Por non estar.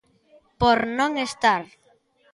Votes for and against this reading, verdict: 2, 1, accepted